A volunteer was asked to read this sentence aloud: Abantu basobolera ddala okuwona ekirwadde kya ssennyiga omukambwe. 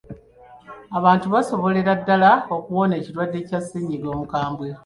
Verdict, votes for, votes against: accepted, 2, 0